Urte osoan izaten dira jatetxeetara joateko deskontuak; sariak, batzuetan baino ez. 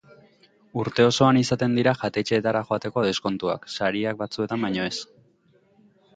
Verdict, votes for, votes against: accepted, 3, 0